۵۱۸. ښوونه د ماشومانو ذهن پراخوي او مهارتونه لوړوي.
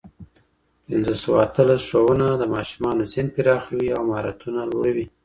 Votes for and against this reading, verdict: 0, 2, rejected